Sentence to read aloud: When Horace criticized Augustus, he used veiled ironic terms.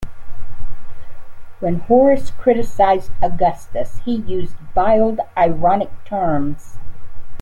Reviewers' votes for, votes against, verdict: 2, 1, accepted